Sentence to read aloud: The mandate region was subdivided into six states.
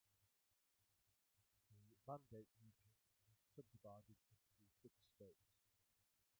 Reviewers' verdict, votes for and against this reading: rejected, 0, 2